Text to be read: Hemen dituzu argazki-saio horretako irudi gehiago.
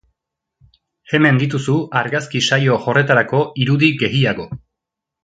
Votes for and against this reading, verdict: 1, 2, rejected